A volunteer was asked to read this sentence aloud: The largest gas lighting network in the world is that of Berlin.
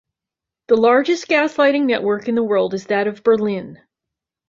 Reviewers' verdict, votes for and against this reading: accepted, 2, 0